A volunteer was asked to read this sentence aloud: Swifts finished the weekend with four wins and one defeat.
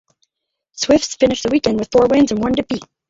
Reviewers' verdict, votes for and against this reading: rejected, 0, 4